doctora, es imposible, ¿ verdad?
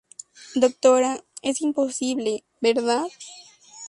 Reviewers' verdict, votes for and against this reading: rejected, 2, 2